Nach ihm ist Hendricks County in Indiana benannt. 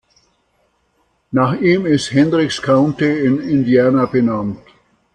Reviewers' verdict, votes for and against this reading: accepted, 2, 0